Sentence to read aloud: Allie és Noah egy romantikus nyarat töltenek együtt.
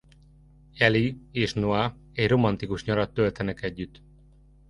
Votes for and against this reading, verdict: 2, 0, accepted